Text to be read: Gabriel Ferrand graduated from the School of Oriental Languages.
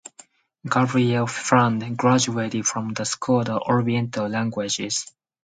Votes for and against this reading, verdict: 4, 0, accepted